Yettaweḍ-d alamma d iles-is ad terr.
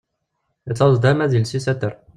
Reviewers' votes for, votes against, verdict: 0, 2, rejected